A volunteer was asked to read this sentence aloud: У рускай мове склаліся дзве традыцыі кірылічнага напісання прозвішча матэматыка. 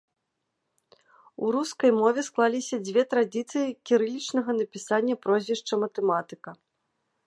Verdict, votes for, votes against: rejected, 1, 2